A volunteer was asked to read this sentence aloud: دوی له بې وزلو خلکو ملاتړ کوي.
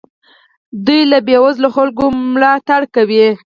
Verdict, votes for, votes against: accepted, 4, 2